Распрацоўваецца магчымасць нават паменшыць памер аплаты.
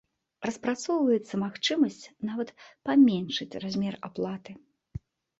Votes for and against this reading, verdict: 1, 2, rejected